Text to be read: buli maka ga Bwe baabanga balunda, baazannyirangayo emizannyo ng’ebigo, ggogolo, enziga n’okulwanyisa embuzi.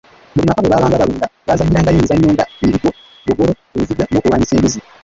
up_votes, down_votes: 0, 2